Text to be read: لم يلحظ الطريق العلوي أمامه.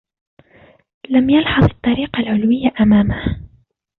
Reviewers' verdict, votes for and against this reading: rejected, 0, 2